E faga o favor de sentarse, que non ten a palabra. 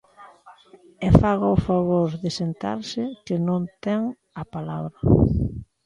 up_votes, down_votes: 2, 0